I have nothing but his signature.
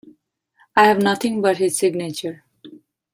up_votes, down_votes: 0, 2